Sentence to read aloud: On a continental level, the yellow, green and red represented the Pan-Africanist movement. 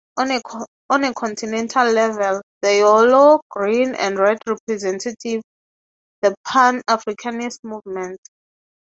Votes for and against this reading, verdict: 0, 3, rejected